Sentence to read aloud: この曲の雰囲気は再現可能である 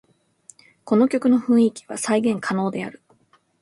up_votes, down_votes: 2, 0